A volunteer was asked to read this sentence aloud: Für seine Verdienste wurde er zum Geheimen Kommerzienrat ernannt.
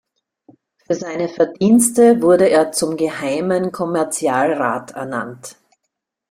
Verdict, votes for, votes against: rejected, 0, 2